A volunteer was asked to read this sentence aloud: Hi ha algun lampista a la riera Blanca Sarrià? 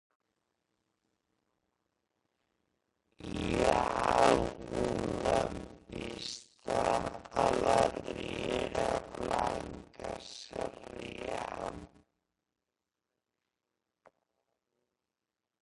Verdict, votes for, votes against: rejected, 0, 2